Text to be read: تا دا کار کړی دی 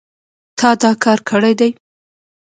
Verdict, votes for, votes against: accepted, 2, 0